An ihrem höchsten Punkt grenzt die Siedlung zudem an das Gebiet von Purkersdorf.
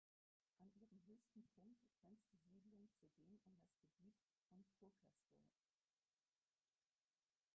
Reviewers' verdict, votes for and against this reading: rejected, 0, 4